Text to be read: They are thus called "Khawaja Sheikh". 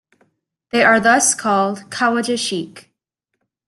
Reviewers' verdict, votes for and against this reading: accepted, 2, 0